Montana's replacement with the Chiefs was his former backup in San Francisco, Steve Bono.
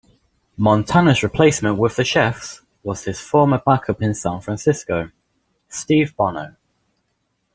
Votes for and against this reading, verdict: 0, 2, rejected